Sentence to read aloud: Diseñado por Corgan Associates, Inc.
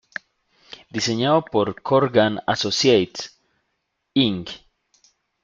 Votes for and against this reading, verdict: 2, 0, accepted